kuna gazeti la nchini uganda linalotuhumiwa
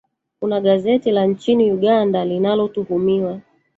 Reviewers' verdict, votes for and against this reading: rejected, 0, 2